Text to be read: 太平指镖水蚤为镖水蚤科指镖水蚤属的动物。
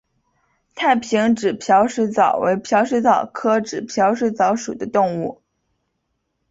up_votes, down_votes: 2, 0